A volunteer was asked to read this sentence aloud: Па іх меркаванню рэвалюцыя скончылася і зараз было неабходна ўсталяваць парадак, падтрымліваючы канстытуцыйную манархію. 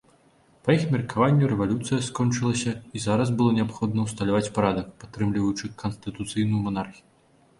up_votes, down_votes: 0, 2